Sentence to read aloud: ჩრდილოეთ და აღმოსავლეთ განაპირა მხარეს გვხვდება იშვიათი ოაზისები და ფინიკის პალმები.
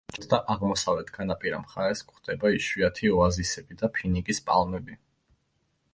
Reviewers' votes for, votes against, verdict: 1, 2, rejected